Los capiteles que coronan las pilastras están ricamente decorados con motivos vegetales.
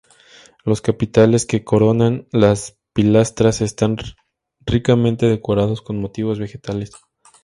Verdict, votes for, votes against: rejected, 0, 2